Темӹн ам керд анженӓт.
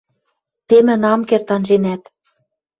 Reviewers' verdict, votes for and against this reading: accepted, 2, 0